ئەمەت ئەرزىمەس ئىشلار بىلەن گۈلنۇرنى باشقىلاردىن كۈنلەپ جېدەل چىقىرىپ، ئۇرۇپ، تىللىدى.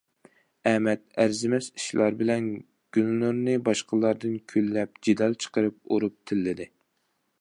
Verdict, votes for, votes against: accepted, 2, 0